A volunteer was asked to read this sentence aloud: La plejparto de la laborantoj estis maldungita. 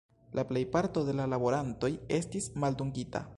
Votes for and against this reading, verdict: 0, 2, rejected